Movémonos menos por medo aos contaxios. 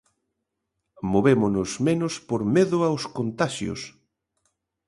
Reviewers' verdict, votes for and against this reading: accepted, 2, 0